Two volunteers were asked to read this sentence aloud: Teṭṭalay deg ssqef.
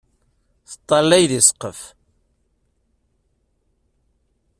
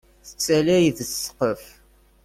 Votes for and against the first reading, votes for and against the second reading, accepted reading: 2, 0, 1, 2, first